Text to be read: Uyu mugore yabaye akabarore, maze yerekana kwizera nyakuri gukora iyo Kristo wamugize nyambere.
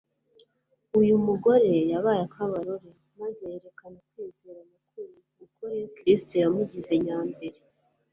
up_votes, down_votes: 1, 2